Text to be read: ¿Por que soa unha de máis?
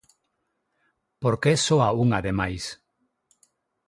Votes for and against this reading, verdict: 6, 0, accepted